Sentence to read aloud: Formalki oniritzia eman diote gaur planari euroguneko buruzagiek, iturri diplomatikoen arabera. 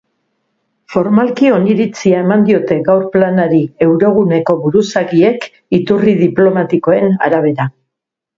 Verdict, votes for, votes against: accepted, 2, 0